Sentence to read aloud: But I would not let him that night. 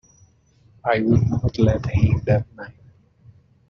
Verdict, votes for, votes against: rejected, 0, 2